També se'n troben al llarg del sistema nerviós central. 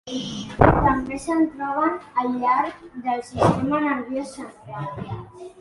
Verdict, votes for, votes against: rejected, 1, 2